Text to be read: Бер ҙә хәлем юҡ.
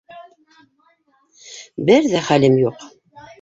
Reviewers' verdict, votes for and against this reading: rejected, 1, 2